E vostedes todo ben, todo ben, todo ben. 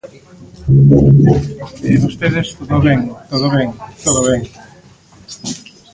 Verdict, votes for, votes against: rejected, 1, 2